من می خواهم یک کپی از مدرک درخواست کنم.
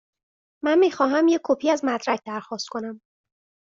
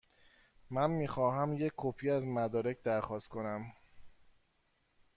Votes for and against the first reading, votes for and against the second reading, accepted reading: 2, 0, 1, 2, first